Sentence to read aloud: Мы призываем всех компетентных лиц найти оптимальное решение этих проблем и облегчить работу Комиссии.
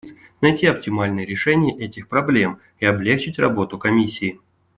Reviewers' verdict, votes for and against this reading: rejected, 1, 2